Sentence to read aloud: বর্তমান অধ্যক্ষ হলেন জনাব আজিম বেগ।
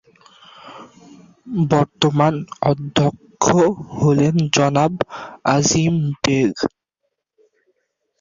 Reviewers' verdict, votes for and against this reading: accepted, 2, 0